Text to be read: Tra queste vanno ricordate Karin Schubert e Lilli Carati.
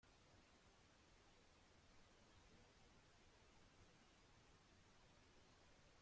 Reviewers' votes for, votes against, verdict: 0, 2, rejected